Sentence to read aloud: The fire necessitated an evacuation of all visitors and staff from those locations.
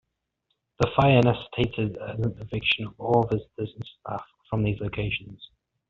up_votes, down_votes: 1, 2